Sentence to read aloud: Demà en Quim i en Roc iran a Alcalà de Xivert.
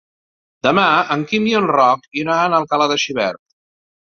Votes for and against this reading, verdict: 1, 2, rejected